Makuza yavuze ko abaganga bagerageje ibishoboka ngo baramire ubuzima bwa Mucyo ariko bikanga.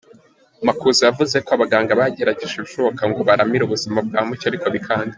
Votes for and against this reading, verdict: 2, 0, accepted